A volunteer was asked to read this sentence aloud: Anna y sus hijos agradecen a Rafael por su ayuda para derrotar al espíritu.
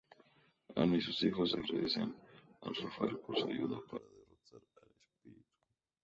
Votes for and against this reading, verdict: 0, 2, rejected